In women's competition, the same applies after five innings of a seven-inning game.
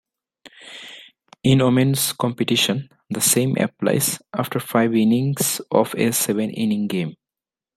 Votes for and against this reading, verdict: 2, 0, accepted